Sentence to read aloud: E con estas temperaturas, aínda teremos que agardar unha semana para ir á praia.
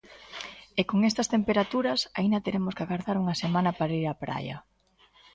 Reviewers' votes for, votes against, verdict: 2, 0, accepted